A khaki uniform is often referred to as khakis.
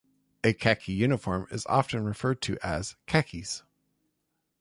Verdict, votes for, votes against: rejected, 1, 2